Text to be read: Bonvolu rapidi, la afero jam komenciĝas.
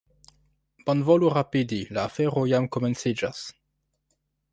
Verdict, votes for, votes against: rejected, 1, 2